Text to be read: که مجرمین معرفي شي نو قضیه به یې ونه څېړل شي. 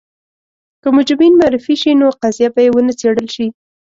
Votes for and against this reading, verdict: 3, 0, accepted